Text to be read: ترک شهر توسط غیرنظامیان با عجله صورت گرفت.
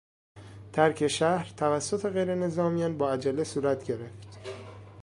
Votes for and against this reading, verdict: 2, 0, accepted